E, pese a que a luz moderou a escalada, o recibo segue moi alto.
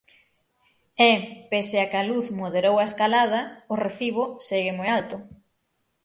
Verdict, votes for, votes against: accepted, 6, 0